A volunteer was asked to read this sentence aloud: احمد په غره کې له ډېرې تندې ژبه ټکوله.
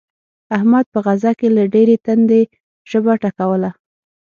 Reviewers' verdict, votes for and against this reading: rejected, 3, 6